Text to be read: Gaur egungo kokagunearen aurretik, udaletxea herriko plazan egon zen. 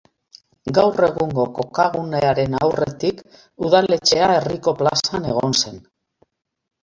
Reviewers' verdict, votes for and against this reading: accepted, 2, 0